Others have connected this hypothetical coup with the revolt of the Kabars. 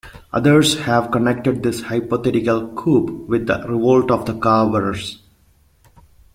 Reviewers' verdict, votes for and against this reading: accepted, 2, 0